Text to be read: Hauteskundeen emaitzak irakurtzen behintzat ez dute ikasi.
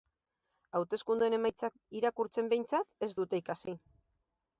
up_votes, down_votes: 8, 0